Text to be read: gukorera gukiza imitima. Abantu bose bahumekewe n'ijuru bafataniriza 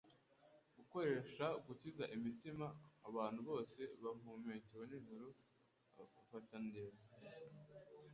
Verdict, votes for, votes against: rejected, 0, 2